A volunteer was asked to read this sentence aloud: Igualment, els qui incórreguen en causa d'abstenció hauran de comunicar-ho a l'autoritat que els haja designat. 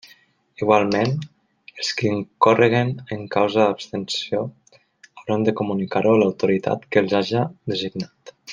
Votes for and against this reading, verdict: 1, 2, rejected